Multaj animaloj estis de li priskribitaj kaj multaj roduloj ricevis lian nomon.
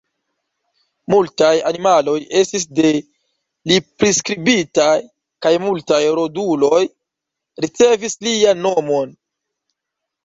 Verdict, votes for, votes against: accepted, 2, 1